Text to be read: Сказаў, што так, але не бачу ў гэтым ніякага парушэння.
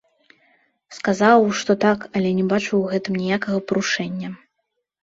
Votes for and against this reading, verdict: 1, 2, rejected